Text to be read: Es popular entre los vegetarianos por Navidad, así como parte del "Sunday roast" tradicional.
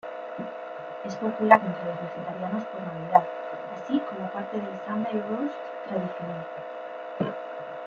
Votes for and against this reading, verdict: 1, 2, rejected